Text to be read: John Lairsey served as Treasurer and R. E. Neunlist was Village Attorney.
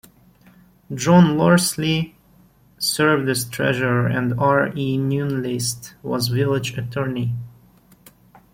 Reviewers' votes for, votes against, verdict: 0, 2, rejected